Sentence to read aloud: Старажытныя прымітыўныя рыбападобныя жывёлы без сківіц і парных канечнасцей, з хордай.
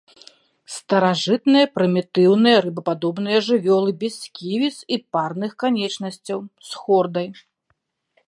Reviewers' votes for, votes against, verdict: 0, 2, rejected